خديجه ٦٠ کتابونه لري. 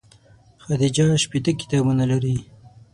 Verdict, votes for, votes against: rejected, 0, 2